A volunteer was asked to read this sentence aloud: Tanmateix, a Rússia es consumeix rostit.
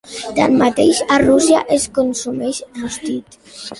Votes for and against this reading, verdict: 3, 0, accepted